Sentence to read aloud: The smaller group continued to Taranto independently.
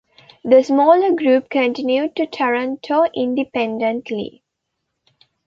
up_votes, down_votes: 2, 0